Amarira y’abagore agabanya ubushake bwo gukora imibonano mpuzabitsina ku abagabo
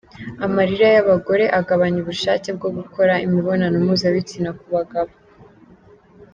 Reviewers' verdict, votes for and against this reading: accepted, 2, 0